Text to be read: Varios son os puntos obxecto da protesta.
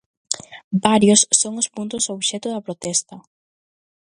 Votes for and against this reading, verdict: 2, 0, accepted